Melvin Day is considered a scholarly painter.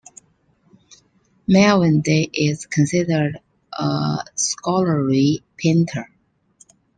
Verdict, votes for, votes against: rejected, 1, 2